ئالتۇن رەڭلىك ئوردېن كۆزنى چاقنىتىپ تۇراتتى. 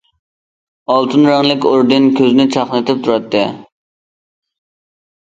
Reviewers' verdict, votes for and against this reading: accepted, 2, 0